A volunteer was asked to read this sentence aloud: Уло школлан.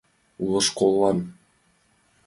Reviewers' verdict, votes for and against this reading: accepted, 5, 0